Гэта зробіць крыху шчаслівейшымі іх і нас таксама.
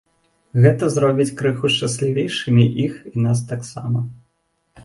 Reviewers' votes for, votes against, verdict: 2, 0, accepted